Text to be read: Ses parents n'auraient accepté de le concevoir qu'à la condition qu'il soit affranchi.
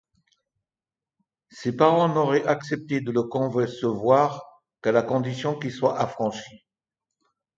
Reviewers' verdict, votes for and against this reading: rejected, 0, 2